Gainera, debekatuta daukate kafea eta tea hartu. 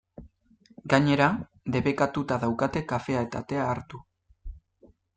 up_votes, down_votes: 2, 1